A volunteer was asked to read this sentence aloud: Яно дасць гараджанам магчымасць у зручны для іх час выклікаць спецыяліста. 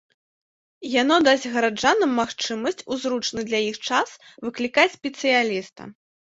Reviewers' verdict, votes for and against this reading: accepted, 2, 0